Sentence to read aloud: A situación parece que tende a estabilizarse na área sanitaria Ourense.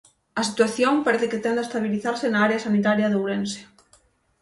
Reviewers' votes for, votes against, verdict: 3, 6, rejected